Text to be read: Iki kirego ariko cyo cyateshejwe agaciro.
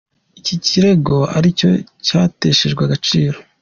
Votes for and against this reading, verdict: 2, 1, accepted